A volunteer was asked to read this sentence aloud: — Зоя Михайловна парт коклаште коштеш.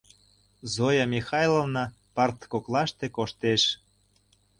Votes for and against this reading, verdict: 2, 0, accepted